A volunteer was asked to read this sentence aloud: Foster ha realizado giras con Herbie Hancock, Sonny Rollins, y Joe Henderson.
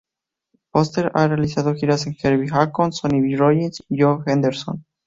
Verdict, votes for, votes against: rejected, 0, 2